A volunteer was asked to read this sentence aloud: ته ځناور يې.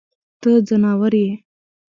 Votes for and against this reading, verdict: 1, 2, rejected